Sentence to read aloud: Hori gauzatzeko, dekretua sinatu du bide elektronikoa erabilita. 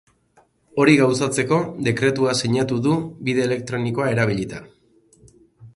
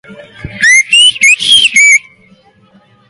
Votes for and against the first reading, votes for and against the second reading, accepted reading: 6, 0, 0, 2, first